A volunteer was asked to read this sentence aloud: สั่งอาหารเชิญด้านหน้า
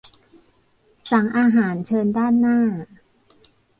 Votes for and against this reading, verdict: 2, 0, accepted